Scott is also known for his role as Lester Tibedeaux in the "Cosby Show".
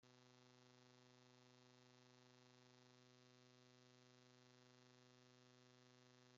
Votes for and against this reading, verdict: 0, 2, rejected